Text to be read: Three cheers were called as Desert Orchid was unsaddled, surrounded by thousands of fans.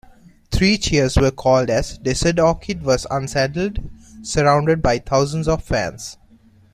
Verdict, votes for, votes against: rejected, 1, 2